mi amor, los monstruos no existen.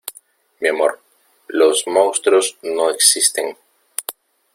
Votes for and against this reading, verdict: 0, 2, rejected